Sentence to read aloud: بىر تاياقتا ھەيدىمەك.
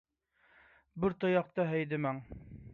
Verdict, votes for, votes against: rejected, 0, 2